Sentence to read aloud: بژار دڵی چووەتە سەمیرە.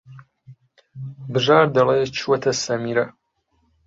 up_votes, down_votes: 0, 2